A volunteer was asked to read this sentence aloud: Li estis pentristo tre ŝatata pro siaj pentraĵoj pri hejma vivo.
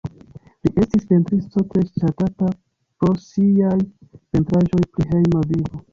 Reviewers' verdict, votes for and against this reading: rejected, 0, 2